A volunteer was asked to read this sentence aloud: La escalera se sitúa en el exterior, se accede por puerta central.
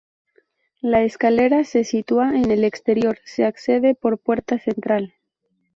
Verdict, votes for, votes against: accepted, 2, 0